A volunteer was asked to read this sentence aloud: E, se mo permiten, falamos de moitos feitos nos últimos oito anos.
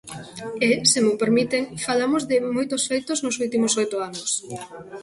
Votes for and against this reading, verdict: 0, 2, rejected